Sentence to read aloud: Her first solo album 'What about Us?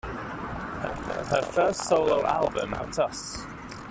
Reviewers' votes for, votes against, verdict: 0, 2, rejected